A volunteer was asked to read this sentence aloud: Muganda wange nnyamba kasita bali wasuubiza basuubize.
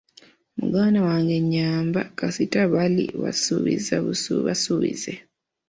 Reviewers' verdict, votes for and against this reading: rejected, 1, 2